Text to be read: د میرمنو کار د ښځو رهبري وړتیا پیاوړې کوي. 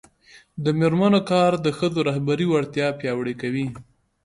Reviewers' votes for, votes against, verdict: 0, 2, rejected